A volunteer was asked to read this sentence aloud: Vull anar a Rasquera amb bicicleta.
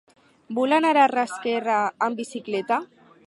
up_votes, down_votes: 2, 4